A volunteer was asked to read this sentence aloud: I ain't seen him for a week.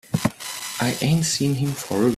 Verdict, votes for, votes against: rejected, 0, 2